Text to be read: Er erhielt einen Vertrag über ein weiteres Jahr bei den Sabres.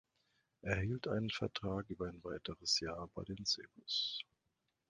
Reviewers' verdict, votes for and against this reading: rejected, 1, 2